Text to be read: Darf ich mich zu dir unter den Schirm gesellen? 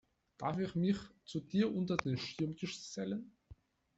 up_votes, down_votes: 1, 2